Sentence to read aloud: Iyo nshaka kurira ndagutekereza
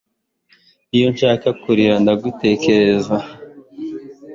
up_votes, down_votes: 2, 0